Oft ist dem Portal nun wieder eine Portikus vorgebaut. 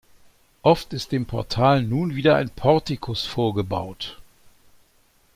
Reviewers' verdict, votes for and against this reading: rejected, 1, 2